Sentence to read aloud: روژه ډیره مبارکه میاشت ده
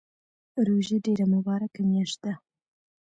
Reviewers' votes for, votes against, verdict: 2, 1, accepted